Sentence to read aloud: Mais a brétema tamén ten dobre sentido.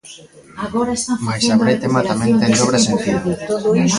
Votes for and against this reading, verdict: 0, 2, rejected